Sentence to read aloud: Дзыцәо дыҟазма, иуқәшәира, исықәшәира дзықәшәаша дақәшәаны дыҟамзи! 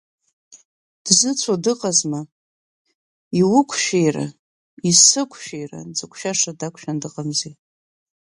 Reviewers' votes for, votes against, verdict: 3, 0, accepted